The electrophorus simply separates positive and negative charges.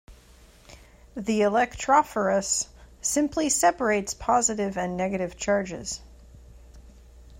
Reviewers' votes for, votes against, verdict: 2, 1, accepted